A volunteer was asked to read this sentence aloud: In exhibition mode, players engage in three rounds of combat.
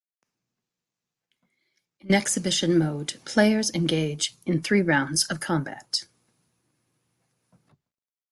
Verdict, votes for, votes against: rejected, 0, 2